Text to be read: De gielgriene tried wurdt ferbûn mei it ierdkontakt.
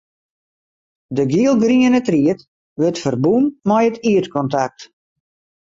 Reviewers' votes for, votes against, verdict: 2, 2, rejected